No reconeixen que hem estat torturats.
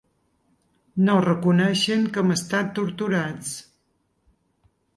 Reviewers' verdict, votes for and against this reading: accepted, 4, 0